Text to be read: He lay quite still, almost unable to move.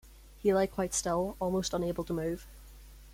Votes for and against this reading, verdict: 0, 2, rejected